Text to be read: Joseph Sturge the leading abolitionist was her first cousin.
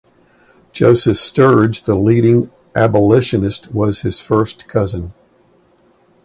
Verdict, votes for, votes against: rejected, 2, 4